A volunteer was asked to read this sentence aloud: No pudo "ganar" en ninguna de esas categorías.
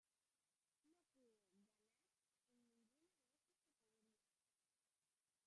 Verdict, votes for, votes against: rejected, 0, 2